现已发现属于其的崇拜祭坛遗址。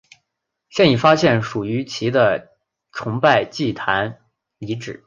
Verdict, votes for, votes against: accepted, 4, 0